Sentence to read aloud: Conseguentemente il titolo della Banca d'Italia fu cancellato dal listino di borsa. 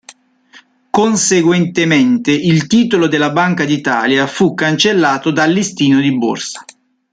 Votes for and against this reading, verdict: 2, 0, accepted